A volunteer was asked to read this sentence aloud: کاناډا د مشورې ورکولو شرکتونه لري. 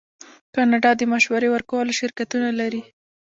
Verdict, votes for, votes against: accepted, 2, 0